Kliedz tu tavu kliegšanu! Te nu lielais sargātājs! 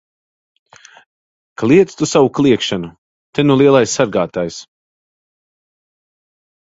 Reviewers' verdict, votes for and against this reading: rejected, 0, 2